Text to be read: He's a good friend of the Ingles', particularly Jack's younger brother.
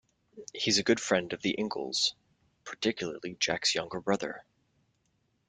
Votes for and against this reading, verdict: 2, 0, accepted